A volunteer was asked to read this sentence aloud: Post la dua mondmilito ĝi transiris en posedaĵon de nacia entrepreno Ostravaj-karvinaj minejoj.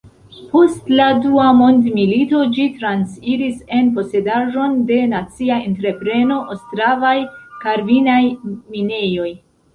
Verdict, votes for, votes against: rejected, 1, 2